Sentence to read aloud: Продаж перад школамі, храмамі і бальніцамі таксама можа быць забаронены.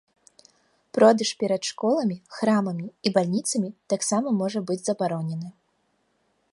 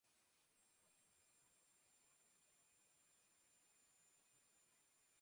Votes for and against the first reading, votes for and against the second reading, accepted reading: 2, 0, 0, 2, first